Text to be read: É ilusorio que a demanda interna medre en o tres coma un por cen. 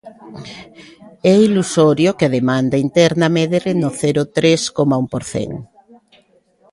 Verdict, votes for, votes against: rejected, 0, 2